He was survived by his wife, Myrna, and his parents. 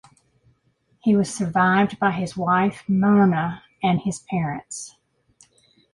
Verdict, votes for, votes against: accepted, 2, 0